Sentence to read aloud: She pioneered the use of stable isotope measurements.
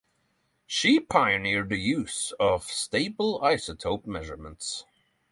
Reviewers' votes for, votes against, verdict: 3, 0, accepted